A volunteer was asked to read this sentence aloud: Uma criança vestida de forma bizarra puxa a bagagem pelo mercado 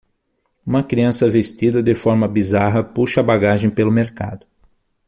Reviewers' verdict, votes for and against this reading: accepted, 6, 0